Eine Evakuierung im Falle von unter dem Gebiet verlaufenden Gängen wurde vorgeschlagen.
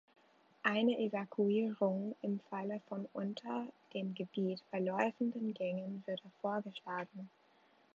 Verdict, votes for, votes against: rejected, 0, 2